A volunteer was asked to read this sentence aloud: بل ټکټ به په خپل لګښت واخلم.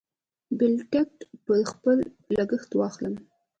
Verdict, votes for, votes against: rejected, 0, 2